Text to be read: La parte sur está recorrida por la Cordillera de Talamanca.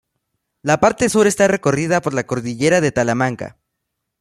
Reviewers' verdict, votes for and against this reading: accepted, 2, 0